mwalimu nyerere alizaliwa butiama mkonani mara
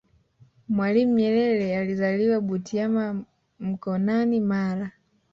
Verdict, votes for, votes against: rejected, 1, 2